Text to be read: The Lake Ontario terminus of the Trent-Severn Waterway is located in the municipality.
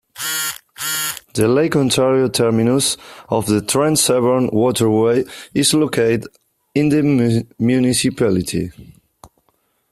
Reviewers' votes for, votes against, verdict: 0, 2, rejected